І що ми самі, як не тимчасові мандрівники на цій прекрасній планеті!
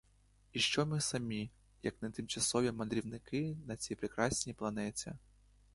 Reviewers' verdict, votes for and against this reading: rejected, 1, 2